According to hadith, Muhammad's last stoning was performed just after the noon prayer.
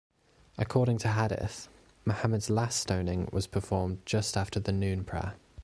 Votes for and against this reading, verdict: 0, 2, rejected